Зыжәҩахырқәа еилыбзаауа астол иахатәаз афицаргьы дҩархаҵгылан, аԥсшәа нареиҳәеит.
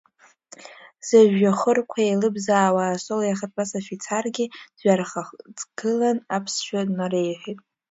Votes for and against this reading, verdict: 1, 2, rejected